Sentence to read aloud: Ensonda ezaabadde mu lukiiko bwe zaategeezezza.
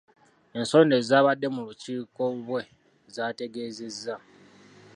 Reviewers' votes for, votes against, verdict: 0, 2, rejected